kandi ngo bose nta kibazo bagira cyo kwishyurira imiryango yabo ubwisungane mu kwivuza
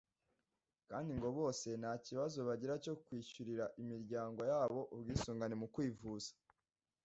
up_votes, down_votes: 2, 0